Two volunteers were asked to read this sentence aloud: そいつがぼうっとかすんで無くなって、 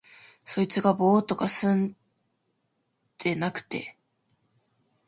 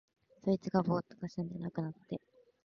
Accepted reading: second